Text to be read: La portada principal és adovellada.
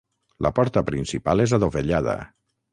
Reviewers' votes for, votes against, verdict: 0, 6, rejected